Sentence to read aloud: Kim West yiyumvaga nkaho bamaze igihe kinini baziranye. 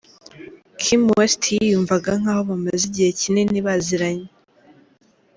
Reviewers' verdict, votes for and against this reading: accepted, 2, 0